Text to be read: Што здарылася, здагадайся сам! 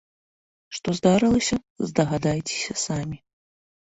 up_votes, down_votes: 0, 2